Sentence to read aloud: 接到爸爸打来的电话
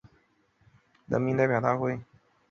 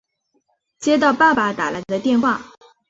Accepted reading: second